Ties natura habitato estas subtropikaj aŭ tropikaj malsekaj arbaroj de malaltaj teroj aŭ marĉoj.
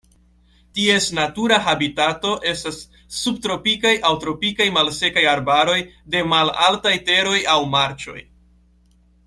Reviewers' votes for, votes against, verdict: 2, 0, accepted